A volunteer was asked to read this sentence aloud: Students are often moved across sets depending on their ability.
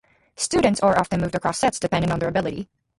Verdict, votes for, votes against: rejected, 0, 2